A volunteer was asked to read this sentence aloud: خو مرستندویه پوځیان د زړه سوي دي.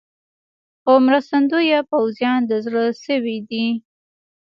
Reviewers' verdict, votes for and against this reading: rejected, 1, 2